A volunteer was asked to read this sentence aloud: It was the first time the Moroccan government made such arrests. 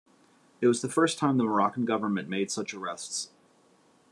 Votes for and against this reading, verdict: 2, 0, accepted